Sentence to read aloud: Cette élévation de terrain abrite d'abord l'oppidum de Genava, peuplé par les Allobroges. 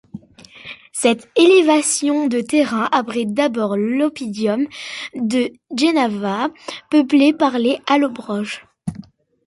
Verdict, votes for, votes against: rejected, 1, 2